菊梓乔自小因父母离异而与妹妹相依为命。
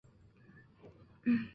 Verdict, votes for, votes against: rejected, 0, 3